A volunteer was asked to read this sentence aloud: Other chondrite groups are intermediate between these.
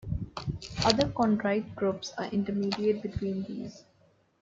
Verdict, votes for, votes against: accepted, 2, 1